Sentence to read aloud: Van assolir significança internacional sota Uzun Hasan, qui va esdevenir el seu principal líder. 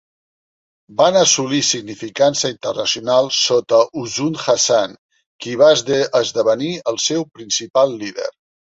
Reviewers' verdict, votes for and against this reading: rejected, 0, 2